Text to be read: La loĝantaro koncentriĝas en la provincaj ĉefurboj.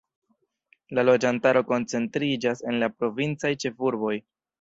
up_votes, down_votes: 0, 2